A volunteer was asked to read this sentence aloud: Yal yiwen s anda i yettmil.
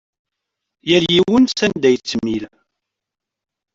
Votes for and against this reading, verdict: 1, 2, rejected